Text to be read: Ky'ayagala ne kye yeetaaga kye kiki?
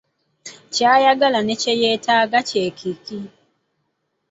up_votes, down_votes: 2, 0